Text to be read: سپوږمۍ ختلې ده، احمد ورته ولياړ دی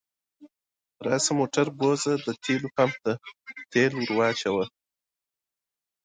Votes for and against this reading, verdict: 0, 5, rejected